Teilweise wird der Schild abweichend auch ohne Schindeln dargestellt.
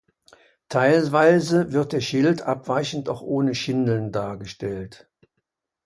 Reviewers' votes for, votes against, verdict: 2, 0, accepted